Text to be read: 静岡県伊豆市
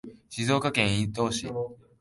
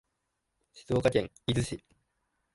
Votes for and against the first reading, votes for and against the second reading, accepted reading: 0, 2, 3, 0, second